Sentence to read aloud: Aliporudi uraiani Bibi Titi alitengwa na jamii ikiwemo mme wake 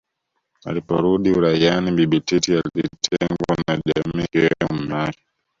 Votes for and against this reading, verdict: 1, 2, rejected